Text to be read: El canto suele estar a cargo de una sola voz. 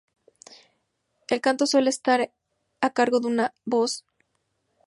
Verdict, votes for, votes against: rejected, 0, 6